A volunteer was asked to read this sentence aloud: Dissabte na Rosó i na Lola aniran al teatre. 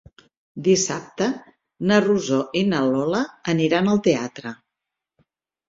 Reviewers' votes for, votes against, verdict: 4, 0, accepted